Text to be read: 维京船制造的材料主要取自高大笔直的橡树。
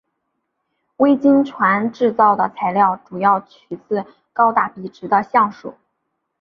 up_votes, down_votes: 2, 0